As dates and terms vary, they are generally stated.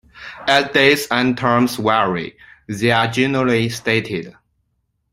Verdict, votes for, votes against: rejected, 1, 2